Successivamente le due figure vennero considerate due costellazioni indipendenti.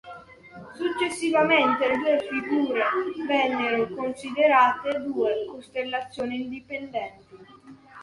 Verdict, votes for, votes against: rejected, 0, 2